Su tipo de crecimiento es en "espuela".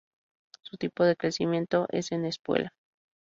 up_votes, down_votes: 4, 0